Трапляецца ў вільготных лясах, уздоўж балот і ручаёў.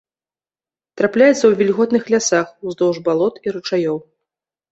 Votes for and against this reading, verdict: 2, 0, accepted